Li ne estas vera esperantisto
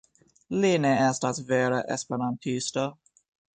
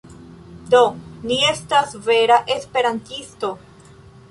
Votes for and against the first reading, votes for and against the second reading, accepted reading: 2, 1, 1, 2, first